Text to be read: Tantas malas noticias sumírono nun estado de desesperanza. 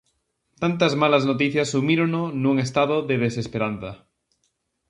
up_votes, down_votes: 2, 0